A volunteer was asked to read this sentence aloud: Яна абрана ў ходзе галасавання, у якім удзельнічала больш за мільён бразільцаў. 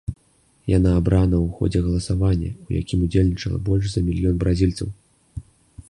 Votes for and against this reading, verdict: 2, 0, accepted